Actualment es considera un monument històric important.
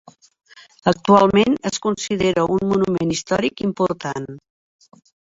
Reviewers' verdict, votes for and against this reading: accepted, 3, 0